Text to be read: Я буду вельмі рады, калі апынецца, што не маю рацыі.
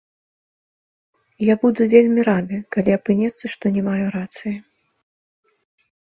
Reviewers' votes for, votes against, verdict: 0, 3, rejected